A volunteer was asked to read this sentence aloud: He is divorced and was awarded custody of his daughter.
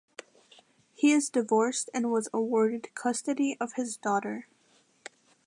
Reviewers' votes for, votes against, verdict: 2, 0, accepted